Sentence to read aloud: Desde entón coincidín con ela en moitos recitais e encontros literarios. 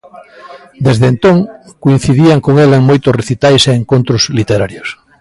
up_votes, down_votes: 1, 2